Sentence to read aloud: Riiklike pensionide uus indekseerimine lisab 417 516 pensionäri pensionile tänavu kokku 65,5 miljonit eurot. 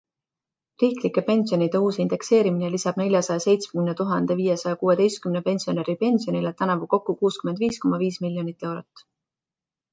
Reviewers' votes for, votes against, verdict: 0, 2, rejected